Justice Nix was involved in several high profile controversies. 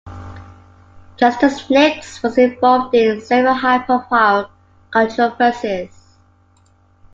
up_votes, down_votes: 2, 0